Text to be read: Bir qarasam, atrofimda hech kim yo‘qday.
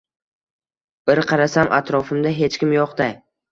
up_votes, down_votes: 1, 2